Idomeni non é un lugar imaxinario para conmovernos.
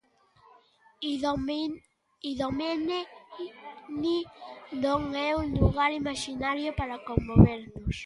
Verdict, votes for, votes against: rejected, 0, 2